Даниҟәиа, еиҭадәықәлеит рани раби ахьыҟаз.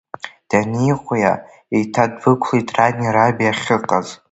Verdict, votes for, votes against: accepted, 2, 1